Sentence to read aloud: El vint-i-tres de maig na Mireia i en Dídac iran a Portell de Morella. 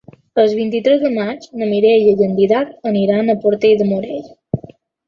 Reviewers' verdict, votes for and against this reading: rejected, 0, 2